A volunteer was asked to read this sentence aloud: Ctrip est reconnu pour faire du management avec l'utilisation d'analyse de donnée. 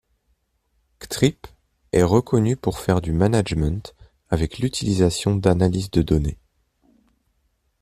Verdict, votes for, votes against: accepted, 2, 0